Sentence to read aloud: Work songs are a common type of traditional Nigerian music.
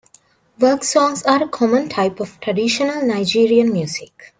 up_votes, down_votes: 2, 0